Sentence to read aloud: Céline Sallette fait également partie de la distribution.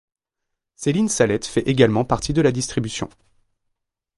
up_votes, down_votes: 2, 0